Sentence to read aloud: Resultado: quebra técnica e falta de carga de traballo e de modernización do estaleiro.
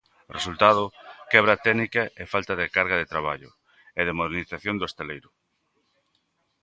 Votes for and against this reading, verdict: 2, 0, accepted